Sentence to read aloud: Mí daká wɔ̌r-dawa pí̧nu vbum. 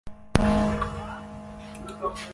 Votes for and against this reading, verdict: 0, 2, rejected